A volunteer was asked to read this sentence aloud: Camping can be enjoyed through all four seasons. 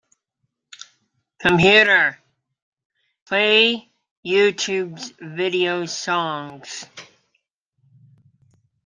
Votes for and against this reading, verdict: 0, 2, rejected